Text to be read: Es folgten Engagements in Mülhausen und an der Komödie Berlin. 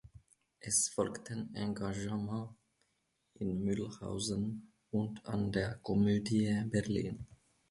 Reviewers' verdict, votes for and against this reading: accepted, 2, 1